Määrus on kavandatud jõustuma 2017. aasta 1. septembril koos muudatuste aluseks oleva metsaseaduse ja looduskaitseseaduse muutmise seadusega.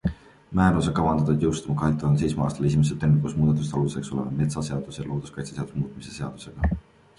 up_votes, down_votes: 0, 2